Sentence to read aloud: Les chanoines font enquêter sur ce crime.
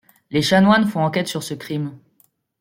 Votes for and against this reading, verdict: 0, 2, rejected